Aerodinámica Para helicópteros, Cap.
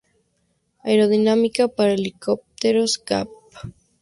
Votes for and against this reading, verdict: 2, 0, accepted